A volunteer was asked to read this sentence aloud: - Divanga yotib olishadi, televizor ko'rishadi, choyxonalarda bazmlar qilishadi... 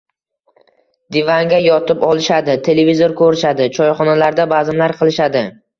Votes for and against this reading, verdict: 1, 2, rejected